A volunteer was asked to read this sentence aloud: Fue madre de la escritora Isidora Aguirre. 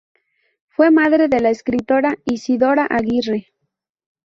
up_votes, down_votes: 0, 2